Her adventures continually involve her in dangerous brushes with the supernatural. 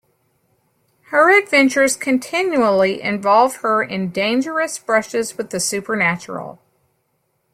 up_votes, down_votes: 2, 0